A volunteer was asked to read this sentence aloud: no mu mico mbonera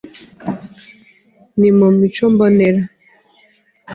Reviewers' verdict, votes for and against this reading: rejected, 1, 2